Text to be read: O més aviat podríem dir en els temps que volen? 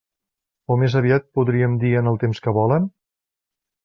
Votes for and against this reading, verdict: 1, 2, rejected